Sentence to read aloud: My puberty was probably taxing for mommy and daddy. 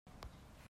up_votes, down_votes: 0, 2